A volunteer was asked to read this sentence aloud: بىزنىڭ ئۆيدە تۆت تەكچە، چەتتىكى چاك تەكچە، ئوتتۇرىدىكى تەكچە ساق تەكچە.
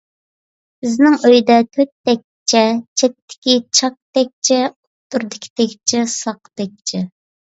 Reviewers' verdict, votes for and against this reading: accepted, 2, 0